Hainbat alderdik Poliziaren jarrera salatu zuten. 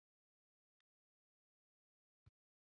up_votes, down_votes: 0, 3